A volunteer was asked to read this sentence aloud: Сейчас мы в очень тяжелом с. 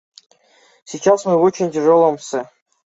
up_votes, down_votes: 2, 0